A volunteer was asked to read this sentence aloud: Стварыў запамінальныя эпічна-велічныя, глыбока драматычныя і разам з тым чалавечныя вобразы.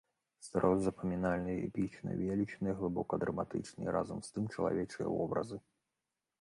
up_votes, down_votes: 1, 2